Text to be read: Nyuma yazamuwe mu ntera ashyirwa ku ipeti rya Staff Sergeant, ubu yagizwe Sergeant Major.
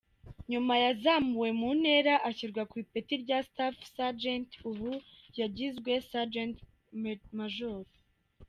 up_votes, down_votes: 2, 1